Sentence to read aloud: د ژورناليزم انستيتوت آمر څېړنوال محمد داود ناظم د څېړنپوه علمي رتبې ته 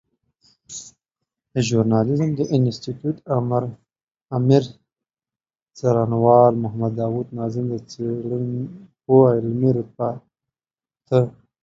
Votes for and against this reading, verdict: 1, 2, rejected